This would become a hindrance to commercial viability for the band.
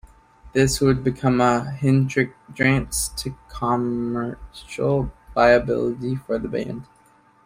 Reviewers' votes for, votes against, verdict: 0, 2, rejected